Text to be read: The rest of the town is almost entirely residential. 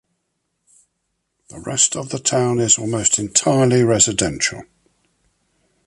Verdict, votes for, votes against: accepted, 2, 0